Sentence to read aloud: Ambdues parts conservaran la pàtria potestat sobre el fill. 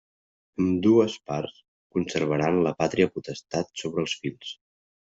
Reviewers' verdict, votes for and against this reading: rejected, 0, 2